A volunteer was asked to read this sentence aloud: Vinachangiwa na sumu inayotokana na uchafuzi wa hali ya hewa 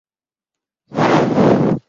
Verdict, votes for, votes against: rejected, 0, 10